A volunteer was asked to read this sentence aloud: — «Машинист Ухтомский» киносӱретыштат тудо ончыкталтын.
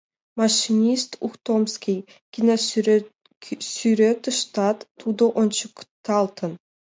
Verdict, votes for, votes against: rejected, 0, 2